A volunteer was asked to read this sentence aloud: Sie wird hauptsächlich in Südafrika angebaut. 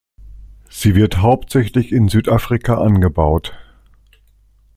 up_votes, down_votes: 2, 0